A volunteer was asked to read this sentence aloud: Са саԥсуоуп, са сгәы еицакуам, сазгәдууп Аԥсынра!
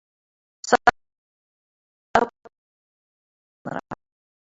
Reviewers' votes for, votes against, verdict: 0, 2, rejected